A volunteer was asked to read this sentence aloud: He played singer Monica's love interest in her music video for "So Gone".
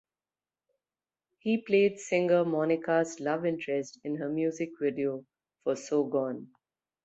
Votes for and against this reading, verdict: 2, 0, accepted